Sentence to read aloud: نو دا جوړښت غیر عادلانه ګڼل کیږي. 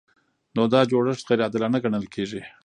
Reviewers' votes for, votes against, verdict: 2, 1, accepted